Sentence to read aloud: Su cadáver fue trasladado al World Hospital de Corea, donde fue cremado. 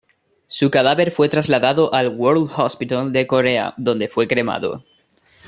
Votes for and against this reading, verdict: 1, 2, rejected